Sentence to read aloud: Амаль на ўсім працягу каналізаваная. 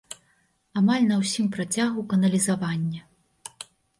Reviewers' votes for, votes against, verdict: 0, 2, rejected